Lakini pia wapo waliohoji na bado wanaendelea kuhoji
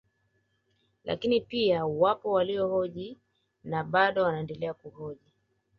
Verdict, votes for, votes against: rejected, 1, 2